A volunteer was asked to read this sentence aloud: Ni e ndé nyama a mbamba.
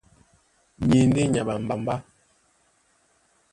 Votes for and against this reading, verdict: 1, 2, rejected